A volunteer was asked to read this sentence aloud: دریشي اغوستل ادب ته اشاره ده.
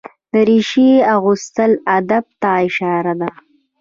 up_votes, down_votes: 1, 2